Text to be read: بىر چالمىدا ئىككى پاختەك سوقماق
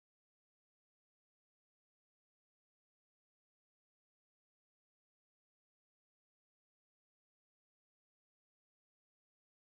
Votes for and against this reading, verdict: 0, 2, rejected